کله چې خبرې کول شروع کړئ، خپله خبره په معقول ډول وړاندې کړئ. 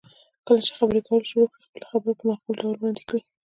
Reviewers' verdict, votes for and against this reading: rejected, 0, 2